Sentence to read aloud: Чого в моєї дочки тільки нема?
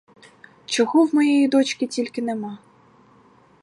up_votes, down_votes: 2, 2